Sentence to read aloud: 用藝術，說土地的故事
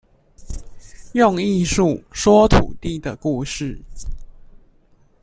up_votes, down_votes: 2, 0